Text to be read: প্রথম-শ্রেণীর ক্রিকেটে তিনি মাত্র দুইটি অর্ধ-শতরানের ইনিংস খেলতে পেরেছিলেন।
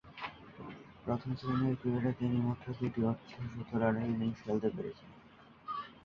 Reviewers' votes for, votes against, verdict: 1, 3, rejected